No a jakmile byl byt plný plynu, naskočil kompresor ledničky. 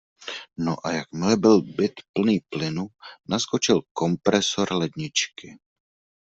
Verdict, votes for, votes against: accepted, 2, 0